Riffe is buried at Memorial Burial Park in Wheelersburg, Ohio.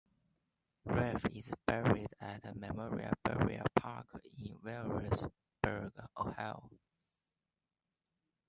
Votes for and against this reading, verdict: 2, 0, accepted